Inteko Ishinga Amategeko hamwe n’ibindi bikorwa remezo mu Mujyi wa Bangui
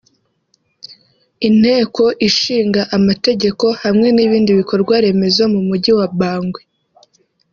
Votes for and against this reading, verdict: 3, 0, accepted